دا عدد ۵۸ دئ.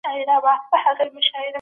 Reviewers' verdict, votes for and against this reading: rejected, 0, 2